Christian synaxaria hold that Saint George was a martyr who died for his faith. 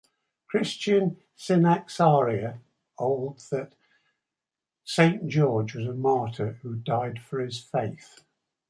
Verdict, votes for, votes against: accepted, 2, 0